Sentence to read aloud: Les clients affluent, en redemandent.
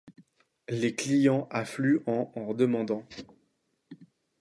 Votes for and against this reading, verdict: 1, 2, rejected